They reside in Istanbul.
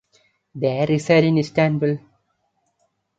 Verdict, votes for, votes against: accepted, 2, 0